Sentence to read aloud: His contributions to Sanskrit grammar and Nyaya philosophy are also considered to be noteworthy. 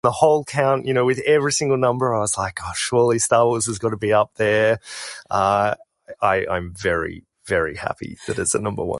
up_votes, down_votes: 0, 6